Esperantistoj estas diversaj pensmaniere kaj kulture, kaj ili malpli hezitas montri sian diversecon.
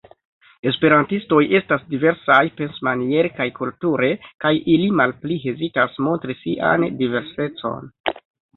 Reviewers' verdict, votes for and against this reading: accepted, 2, 1